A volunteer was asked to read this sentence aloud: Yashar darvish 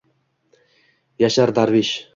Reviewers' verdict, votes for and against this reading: accepted, 2, 0